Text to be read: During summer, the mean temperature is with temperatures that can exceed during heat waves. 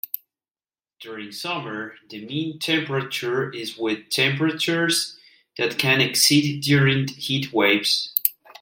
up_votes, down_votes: 2, 0